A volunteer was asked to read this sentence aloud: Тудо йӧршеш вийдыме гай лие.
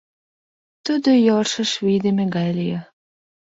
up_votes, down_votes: 1, 2